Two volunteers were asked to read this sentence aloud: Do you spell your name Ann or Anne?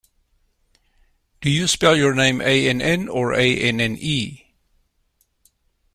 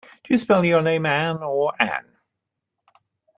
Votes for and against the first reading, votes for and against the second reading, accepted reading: 0, 2, 2, 1, second